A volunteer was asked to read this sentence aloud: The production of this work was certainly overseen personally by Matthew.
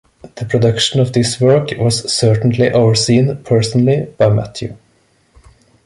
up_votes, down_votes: 2, 0